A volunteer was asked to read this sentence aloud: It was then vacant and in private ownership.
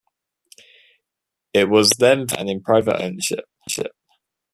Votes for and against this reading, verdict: 0, 2, rejected